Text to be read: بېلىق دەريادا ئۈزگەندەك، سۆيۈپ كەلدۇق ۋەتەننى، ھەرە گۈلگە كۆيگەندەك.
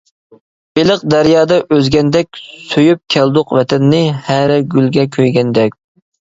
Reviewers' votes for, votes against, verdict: 2, 0, accepted